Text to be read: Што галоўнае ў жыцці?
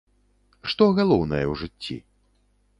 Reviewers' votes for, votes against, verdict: 2, 0, accepted